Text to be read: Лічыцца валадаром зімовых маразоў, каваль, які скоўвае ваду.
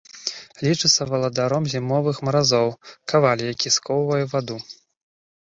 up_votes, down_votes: 2, 0